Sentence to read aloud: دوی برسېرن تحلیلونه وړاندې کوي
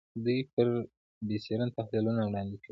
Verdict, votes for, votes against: rejected, 1, 2